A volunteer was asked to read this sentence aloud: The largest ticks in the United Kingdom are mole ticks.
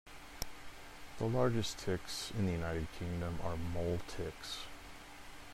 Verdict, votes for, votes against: accepted, 2, 0